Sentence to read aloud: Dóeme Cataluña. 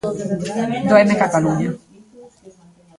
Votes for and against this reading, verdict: 0, 2, rejected